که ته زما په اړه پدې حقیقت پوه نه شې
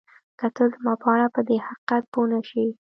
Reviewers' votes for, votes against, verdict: 2, 0, accepted